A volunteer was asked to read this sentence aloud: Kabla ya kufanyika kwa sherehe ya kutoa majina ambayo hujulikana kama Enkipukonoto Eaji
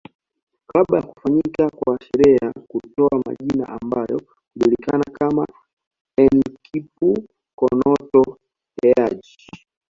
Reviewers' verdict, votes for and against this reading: accepted, 2, 0